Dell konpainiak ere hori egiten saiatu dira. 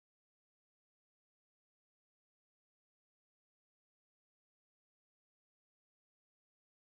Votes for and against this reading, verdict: 0, 2, rejected